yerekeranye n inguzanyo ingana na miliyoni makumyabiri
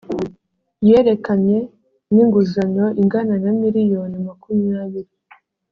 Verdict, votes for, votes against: rejected, 0, 2